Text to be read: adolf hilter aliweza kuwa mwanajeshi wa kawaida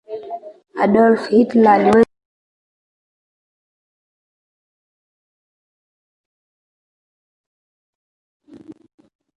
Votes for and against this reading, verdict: 0, 2, rejected